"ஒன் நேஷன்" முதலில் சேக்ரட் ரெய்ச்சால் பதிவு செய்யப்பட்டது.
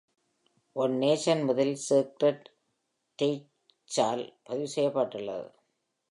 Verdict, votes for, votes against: accepted, 2, 0